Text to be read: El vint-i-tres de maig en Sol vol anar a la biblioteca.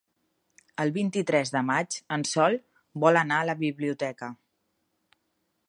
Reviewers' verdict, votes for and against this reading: accepted, 3, 0